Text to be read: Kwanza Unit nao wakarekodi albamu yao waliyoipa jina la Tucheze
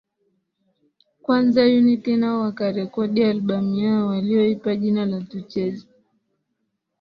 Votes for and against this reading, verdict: 2, 0, accepted